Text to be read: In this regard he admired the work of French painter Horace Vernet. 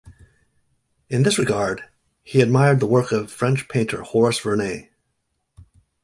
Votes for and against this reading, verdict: 2, 0, accepted